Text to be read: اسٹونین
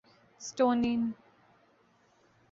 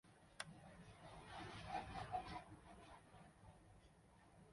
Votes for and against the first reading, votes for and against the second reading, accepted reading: 2, 0, 0, 3, first